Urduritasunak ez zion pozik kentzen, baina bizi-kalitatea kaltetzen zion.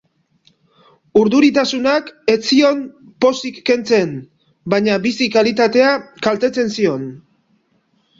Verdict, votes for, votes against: rejected, 0, 2